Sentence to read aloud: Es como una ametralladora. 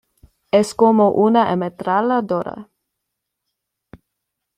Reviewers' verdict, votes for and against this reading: accepted, 2, 0